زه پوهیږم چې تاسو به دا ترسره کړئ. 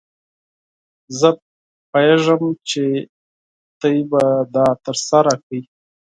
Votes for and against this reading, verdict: 2, 4, rejected